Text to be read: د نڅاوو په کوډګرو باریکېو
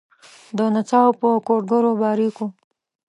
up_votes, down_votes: 1, 2